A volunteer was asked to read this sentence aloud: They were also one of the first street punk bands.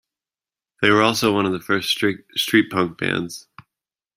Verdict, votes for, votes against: rejected, 0, 2